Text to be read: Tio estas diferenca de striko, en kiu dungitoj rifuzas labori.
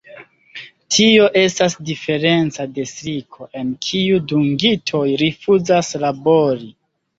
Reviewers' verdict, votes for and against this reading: accepted, 2, 1